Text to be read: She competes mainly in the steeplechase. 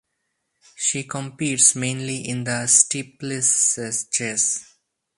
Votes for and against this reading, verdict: 2, 4, rejected